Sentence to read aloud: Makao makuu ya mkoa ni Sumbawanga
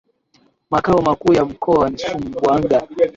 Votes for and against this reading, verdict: 0, 2, rejected